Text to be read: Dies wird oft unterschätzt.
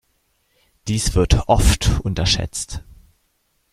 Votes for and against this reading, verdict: 0, 2, rejected